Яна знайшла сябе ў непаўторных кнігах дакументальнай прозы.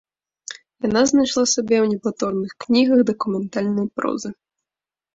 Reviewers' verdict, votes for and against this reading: accepted, 2, 1